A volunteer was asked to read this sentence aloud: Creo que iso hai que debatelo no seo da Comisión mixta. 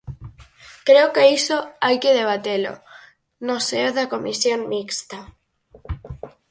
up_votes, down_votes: 4, 0